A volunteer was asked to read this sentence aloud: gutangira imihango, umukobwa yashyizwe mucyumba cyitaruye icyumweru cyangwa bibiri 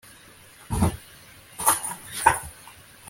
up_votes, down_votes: 0, 2